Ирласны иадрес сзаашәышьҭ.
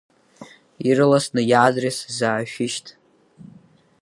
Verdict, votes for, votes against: rejected, 2, 4